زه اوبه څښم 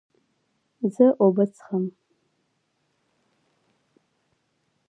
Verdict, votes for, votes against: rejected, 1, 2